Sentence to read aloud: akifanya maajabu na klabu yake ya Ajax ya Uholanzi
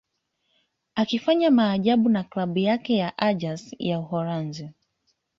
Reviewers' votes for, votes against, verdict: 2, 0, accepted